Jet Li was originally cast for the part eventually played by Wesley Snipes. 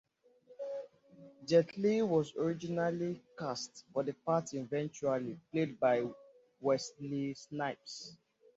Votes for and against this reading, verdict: 2, 0, accepted